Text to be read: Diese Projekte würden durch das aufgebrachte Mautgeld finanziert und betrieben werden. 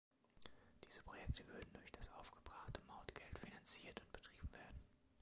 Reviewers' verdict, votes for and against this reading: accepted, 2, 0